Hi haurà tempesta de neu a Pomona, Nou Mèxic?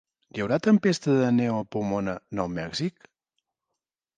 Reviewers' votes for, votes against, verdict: 4, 0, accepted